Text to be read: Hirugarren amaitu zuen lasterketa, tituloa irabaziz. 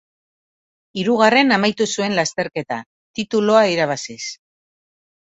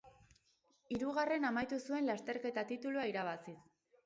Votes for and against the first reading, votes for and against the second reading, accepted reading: 2, 0, 2, 2, first